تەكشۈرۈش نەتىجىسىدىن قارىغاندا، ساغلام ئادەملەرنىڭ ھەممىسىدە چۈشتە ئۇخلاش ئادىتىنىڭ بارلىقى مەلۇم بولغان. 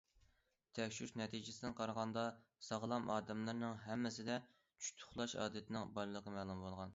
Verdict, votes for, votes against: accepted, 2, 0